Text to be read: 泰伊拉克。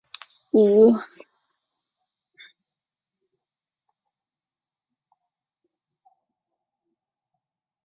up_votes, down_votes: 0, 2